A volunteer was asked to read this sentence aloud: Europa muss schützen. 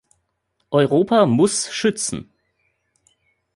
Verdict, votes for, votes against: accepted, 2, 0